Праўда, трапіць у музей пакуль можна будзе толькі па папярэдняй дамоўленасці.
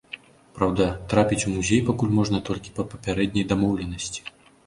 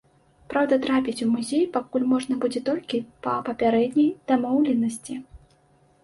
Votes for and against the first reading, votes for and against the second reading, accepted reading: 1, 2, 2, 0, second